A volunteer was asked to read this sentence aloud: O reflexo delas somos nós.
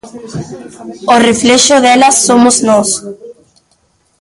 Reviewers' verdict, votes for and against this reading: rejected, 1, 2